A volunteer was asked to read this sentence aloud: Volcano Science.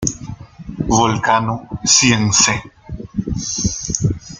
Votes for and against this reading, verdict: 1, 2, rejected